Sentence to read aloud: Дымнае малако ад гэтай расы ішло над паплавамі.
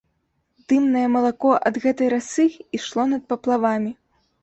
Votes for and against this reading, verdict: 2, 0, accepted